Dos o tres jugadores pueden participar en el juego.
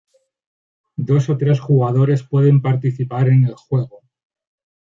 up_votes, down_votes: 2, 0